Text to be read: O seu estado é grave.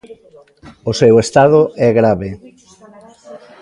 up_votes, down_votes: 1, 2